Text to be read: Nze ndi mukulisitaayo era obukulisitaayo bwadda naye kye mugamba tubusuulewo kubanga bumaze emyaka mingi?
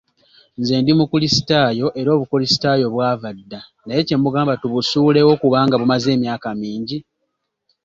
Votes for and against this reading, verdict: 0, 2, rejected